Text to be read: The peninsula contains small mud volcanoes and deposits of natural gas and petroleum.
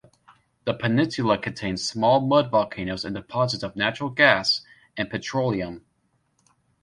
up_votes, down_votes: 2, 0